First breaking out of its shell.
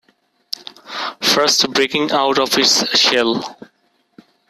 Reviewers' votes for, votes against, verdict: 0, 2, rejected